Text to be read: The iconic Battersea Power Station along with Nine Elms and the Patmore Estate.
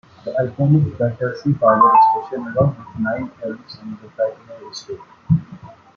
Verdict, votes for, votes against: rejected, 0, 2